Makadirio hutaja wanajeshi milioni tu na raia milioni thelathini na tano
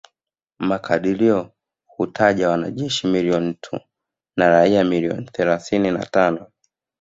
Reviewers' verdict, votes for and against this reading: rejected, 1, 2